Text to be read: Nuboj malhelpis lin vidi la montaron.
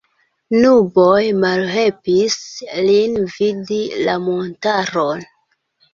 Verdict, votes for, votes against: accepted, 2, 0